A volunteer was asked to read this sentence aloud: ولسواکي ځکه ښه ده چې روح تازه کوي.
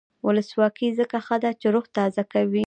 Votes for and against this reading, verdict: 2, 0, accepted